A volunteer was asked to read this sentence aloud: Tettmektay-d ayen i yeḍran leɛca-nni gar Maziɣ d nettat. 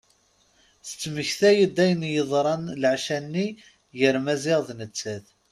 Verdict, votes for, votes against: accepted, 2, 0